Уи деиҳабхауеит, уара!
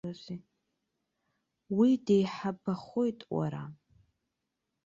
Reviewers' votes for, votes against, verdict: 1, 2, rejected